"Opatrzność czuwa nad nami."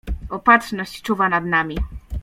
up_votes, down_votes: 2, 0